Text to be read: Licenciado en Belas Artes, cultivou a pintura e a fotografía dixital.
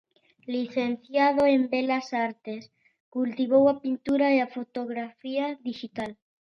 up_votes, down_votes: 2, 0